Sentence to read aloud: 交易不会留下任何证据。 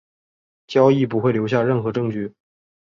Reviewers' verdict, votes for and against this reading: accepted, 3, 0